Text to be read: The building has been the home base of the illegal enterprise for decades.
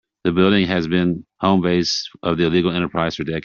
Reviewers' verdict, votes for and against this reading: rejected, 0, 2